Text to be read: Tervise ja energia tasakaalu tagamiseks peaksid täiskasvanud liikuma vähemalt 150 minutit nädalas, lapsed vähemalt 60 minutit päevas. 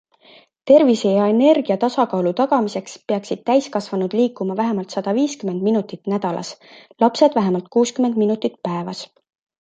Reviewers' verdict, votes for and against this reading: rejected, 0, 2